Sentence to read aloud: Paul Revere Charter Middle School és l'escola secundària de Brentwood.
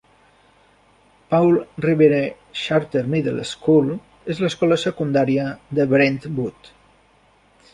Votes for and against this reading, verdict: 0, 2, rejected